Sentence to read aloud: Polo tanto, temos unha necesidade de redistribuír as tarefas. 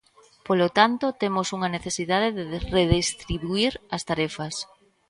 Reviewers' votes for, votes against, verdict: 1, 2, rejected